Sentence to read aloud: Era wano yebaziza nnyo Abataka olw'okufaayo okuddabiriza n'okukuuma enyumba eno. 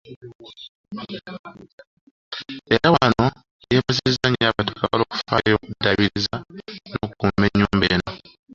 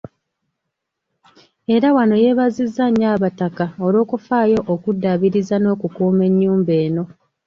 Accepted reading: second